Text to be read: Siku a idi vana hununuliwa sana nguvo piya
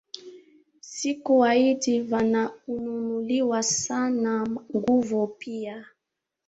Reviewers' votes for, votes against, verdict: 2, 3, rejected